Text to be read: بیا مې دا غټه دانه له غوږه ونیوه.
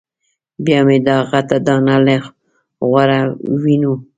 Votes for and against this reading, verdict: 1, 2, rejected